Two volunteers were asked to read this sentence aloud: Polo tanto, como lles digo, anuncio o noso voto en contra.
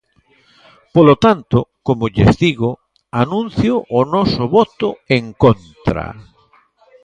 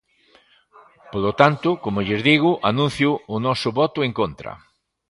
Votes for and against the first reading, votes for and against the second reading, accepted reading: 0, 2, 2, 0, second